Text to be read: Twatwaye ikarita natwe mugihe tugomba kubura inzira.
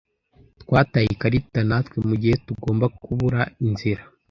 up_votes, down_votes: 1, 2